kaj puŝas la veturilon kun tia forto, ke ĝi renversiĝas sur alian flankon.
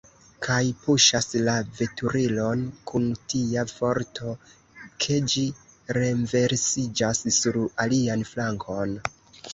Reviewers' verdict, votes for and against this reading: rejected, 1, 2